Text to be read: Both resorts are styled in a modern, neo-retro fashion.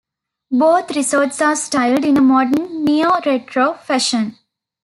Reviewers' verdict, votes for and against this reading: accepted, 2, 0